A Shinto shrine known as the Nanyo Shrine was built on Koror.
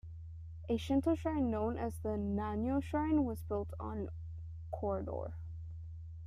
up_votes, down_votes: 1, 2